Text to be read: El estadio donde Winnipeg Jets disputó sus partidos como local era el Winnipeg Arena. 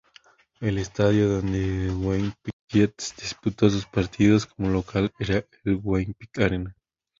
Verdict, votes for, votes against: rejected, 0, 2